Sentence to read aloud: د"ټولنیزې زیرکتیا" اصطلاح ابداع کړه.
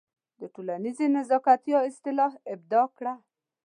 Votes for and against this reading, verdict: 1, 2, rejected